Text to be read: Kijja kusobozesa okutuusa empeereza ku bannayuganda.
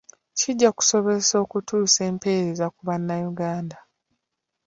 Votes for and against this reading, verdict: 2, 1, accepted